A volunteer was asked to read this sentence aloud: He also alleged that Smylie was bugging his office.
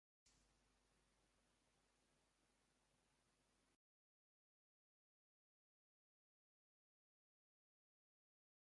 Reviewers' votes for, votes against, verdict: 0, 2, rejected